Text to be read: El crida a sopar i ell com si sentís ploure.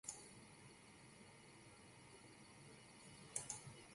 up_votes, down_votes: 0, 2